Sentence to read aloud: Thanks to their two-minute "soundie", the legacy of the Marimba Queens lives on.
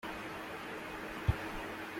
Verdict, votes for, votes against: rejected, 0, 2